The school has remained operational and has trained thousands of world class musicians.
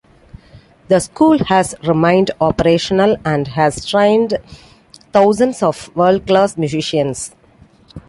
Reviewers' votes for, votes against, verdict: 2, 0, accepted